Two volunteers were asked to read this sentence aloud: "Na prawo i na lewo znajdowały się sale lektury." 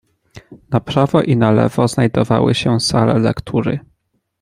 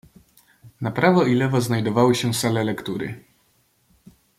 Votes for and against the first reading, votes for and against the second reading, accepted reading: 2, 0, 1, 2, first